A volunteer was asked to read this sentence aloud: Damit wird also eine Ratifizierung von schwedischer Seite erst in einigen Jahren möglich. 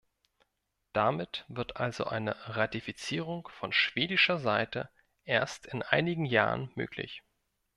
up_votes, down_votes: 2, 1